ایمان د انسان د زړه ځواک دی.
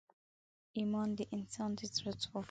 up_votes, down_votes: 1, 2